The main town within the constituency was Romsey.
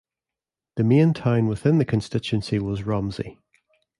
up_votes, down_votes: 2, 0